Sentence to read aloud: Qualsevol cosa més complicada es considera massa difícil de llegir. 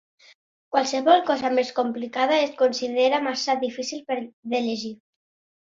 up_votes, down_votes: 1, 2